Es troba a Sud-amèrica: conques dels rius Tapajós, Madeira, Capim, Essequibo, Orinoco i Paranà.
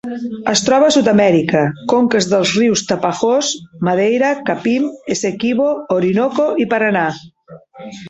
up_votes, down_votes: 3, 0